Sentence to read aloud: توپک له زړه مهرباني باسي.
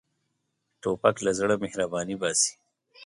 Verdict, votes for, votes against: accepted, 2, 0